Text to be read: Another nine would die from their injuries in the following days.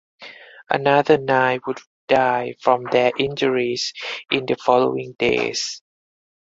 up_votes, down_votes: 4, 0